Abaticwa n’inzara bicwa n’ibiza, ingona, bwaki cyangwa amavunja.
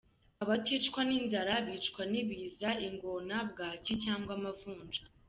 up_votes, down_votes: 2, 0